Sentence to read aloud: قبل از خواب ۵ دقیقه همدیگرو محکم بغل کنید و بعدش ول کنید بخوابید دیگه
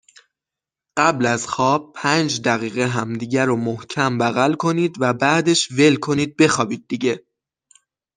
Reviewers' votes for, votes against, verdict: 0, 2, rejected